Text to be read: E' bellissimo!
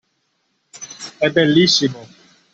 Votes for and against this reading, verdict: 2, 0, accepted